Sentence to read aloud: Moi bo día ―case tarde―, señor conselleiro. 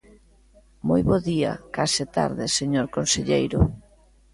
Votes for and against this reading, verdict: 2, 0, accepted